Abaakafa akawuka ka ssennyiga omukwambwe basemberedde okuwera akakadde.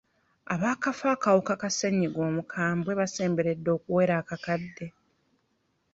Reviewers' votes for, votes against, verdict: 2, 0, accepted